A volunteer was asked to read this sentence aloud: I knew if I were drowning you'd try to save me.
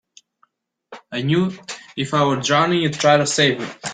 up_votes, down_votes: 2, 0